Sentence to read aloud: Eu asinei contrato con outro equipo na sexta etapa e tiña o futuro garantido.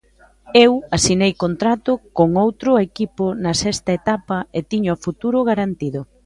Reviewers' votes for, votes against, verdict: 2, 0, accepted